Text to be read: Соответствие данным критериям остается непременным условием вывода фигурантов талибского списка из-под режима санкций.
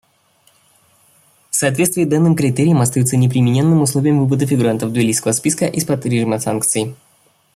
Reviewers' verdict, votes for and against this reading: rejected, 0, 2